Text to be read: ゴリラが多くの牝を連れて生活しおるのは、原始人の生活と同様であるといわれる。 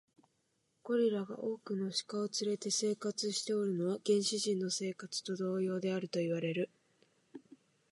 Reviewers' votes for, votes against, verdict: 0, 2, rejected